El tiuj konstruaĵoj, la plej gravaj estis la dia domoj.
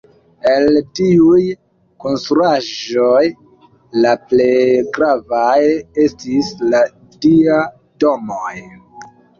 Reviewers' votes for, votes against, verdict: 0, 2, rejected